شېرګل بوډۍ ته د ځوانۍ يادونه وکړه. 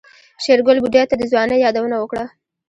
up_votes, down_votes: 2, 0